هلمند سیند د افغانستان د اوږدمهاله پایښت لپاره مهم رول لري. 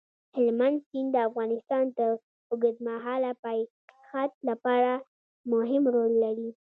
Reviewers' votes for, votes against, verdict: 2, 0, accepted